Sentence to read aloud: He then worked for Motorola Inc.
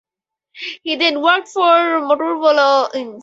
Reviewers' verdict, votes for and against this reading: rejected, 2, 2